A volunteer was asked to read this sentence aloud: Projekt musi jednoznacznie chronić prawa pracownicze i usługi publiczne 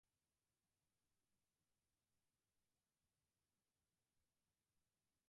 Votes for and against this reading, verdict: 0, 4, rejected